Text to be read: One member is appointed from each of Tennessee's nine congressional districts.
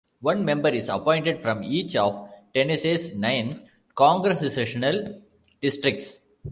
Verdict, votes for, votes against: rejected, 0, 2